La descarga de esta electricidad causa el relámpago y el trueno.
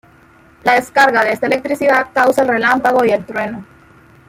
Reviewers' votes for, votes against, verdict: 1, 2, rejected